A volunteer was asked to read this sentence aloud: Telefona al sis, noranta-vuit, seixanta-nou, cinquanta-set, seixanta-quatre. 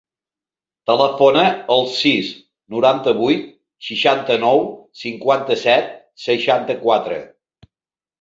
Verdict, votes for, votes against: rejected, 1, 2